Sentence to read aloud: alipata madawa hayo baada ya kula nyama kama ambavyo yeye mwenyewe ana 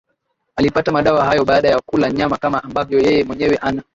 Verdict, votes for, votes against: accepted, 7, 4